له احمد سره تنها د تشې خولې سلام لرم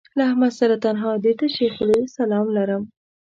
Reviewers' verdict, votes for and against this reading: accepted, 2, 0